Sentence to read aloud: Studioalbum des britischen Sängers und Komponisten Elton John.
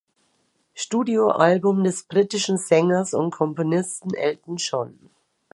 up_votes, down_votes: 2, 0